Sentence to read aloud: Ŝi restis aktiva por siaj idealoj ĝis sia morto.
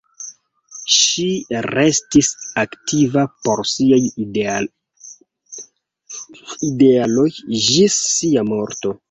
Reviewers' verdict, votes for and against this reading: rejected, 1, 2